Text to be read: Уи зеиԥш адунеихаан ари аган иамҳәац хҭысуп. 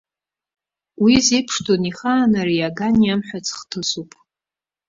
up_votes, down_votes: 2, 0